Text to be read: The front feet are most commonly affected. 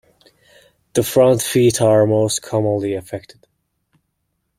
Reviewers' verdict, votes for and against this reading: accepted, 2, 0